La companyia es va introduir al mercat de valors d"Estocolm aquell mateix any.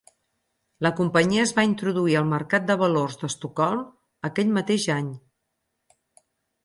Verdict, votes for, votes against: accepted, 4, 0